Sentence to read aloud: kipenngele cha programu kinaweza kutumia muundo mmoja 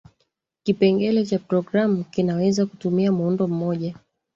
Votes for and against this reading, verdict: 0, 2, rejected